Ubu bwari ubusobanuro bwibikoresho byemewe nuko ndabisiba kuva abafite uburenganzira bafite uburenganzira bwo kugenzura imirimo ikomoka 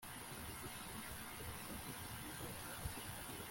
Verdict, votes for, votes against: rejected, 0, 2